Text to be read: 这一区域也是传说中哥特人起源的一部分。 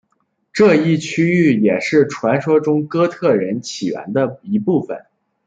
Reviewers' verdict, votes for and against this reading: accepted, 2, 0